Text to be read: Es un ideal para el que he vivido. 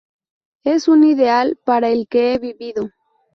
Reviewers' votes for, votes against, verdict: 4, 0, accepted